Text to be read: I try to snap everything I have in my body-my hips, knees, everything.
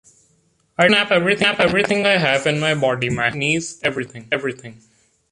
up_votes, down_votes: 0, 2